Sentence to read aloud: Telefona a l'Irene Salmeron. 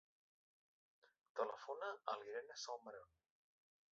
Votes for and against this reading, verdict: 0, 2, rejected